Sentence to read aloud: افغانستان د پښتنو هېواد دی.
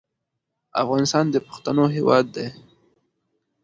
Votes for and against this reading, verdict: 2, 0, accepted